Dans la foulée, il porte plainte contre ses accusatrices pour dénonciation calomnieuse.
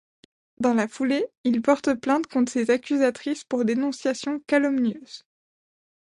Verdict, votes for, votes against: rejected, 1, 2